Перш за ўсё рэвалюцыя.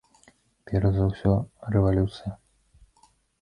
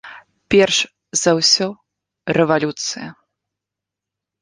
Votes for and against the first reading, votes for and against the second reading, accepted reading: 0, 2, 2, 0, second